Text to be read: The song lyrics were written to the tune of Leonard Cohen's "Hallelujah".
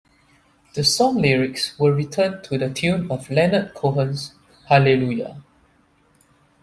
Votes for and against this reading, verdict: 0, 2, rejected